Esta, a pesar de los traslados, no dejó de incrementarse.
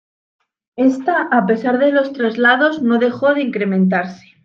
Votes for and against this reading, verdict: 3, 0, accepted